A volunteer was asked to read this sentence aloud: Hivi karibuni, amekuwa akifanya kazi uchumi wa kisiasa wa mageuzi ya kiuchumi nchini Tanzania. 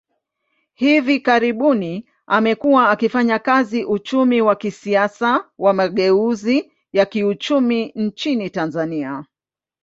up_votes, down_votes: 2, 0